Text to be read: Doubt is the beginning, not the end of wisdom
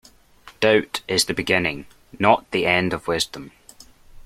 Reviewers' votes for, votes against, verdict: 2, 0, accepted